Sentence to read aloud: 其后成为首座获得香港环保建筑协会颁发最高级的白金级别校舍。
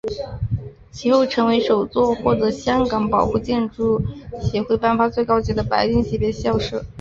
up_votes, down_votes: 2, 2